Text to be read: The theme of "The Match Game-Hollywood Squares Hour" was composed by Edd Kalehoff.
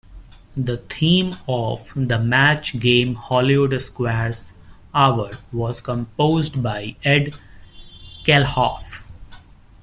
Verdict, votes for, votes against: accepted, 2, 1